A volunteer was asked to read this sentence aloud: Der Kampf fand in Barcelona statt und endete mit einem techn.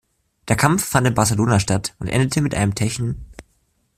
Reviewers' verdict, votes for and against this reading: accepted, 2, 1